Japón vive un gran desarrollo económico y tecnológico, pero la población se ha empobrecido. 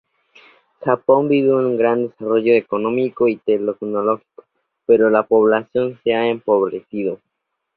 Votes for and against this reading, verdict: 0, 2, rejected